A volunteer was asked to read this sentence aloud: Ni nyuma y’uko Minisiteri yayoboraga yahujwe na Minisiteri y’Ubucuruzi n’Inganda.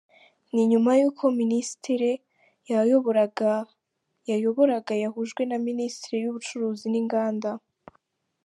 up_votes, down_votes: 0, 3